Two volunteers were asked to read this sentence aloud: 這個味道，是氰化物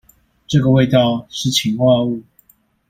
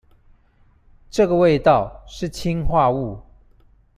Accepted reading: second